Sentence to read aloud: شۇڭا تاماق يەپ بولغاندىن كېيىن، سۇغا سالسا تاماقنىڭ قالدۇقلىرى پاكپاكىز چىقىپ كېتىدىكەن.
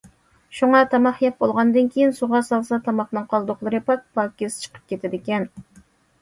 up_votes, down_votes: 2, 0